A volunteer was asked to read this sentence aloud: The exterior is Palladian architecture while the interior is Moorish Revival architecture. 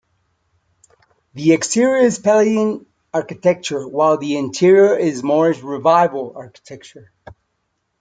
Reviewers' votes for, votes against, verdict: 1, 2, rejected